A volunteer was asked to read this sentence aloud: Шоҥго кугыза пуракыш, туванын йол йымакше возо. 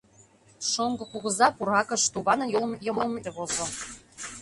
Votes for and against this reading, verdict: 0, 2, rejected